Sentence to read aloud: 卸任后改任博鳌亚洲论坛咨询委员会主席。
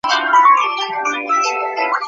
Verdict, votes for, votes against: rejected, 1, 2